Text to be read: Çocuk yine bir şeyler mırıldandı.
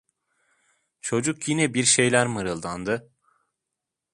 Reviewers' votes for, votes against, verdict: 2, 0, accepted